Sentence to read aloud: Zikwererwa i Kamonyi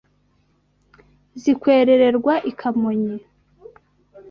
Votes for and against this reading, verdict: 1, 2, rejected